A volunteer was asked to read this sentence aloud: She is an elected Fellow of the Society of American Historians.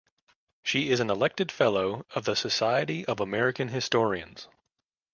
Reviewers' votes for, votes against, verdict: 2, 0, accepted